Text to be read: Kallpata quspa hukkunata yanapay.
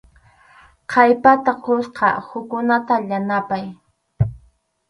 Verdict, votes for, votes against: rejected, 0, 4